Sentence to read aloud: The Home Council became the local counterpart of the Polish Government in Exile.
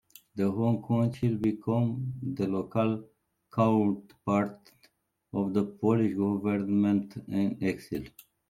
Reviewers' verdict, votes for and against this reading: rejected, 0, 2